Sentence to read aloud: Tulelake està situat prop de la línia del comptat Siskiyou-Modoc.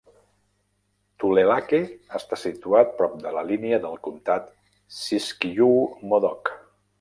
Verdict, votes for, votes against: rejected, 1, 2